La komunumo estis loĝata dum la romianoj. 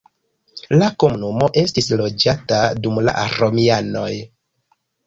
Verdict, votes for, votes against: rejected, 1, 2